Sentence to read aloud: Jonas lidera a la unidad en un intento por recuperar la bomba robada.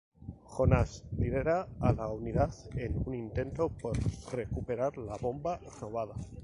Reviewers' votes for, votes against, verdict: 4, 0, accepted